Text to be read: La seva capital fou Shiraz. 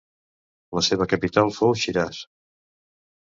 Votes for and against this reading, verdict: 2, 0, accepted